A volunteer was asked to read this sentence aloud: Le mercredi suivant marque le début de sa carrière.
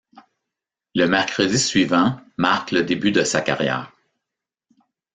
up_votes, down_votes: 2, 0